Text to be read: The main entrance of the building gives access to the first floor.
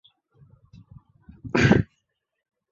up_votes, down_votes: 0, 2